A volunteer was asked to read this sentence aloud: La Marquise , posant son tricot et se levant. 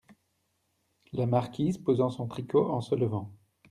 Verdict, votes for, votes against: rejected, 0, 2